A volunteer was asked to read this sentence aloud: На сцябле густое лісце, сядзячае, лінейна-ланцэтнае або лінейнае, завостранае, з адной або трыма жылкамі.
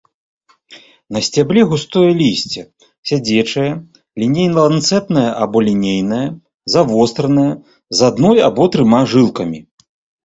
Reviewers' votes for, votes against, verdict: 0, 2, rejected